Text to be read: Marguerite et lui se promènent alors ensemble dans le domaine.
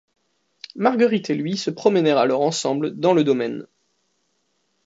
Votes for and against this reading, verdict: 1, 2, rejected